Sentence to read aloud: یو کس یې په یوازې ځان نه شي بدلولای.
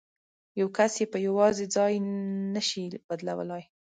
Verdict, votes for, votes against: rejected, 0, 2